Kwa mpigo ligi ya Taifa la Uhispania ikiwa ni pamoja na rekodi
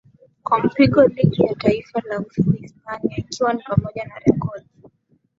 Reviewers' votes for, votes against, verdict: 19, 3, accepted